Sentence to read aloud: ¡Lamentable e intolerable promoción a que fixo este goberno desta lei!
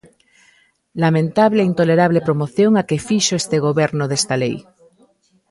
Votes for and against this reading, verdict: 0, 2, rejected